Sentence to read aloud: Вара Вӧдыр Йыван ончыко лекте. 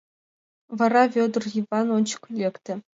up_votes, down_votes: 2, 0